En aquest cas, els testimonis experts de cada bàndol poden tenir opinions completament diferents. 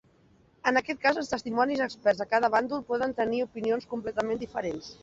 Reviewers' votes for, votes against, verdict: 2, 1, accepted